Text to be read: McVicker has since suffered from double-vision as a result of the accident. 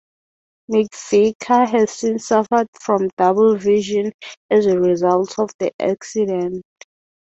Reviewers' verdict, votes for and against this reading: rejected, 3, 3